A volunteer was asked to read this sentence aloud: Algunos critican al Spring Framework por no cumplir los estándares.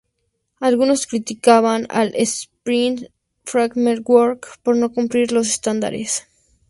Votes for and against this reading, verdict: 4, 2, accepted